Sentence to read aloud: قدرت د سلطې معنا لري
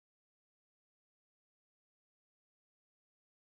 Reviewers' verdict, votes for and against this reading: rejected, 0, 2